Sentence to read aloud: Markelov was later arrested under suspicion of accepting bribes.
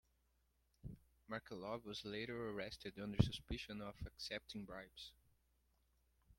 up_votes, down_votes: 2, 1